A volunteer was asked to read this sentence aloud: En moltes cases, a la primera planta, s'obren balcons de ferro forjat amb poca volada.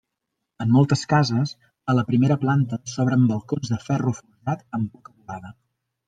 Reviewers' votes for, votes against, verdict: 0, 2, rejected